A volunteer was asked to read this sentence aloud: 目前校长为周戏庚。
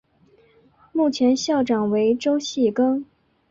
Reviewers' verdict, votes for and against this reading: accepted, 3, 0